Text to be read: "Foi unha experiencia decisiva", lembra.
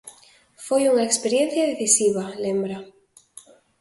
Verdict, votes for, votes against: accepted, 2, 0